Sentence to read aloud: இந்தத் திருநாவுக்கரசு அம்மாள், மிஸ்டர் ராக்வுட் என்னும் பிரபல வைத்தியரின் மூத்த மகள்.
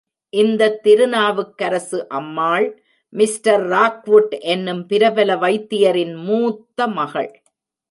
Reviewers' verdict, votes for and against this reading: accepted, 2, 0